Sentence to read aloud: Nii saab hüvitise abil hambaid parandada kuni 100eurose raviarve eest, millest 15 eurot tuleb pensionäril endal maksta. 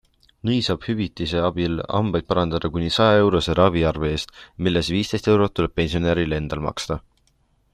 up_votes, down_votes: 0, 2